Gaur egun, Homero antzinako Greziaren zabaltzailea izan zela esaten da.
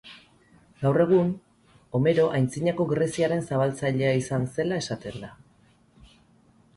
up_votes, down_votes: 2, 4